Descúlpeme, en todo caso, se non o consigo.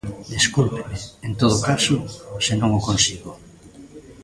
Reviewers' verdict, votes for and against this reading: accepted, 2, 0